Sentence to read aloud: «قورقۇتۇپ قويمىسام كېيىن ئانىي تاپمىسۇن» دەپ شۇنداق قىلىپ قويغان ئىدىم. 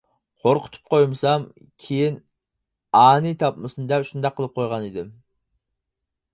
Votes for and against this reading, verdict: 4, 0, accepted